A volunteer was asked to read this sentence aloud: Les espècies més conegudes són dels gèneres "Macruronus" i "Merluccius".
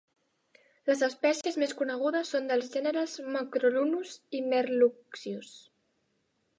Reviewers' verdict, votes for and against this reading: accepted, 2, 0